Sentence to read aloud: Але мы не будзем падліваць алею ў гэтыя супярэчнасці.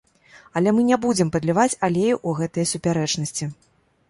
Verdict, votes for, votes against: accepted, 2, 0